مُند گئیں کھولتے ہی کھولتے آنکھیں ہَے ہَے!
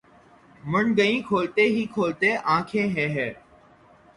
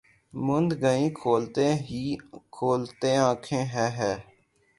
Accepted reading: second